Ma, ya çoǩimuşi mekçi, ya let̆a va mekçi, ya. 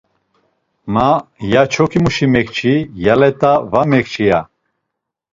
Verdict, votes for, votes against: rejected, 1, 2